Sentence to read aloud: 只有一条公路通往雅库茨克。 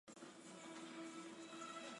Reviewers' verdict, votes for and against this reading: rejected, 0, 2